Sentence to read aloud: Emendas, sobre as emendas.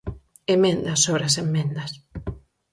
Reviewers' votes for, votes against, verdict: 0, 4, rejected